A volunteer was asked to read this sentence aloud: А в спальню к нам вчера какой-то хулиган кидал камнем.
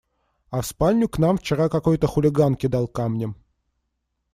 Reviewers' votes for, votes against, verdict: 2, 0, accepted